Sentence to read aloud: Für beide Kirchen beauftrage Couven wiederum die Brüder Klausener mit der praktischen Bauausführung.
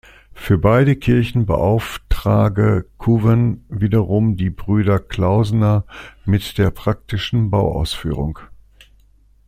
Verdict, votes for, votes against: accepted, 2, 0